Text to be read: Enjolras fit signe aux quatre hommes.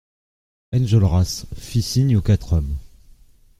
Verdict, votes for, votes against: accepted, 2, 0